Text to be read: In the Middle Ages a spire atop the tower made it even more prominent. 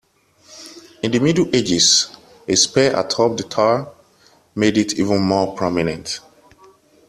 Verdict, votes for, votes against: accepted, 2, 1